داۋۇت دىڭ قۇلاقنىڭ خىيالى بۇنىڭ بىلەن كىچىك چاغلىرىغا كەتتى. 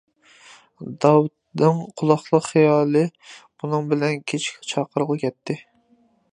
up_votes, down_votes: 0, 2